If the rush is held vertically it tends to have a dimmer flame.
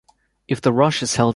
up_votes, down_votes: 1, 2